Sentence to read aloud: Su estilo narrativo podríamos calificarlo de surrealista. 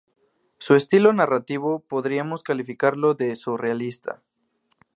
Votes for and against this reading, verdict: 2, 0, accepted